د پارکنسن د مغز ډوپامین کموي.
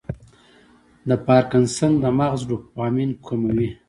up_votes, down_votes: 2, 0